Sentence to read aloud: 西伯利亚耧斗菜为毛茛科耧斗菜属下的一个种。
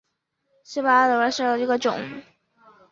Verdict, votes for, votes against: rejected, 0, 3